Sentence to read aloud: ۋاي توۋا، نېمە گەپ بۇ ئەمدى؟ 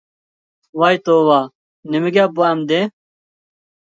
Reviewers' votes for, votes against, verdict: 2, 0, accepted